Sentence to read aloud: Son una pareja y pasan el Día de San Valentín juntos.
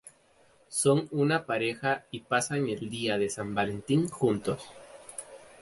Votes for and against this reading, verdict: 2, 0, accepted